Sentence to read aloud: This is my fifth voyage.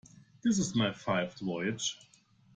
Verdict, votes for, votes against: rejected, 1, 2